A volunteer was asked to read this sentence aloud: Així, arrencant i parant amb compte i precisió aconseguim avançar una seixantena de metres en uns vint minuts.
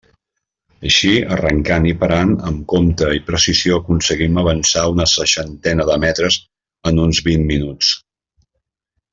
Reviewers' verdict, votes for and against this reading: accepted, 2, 0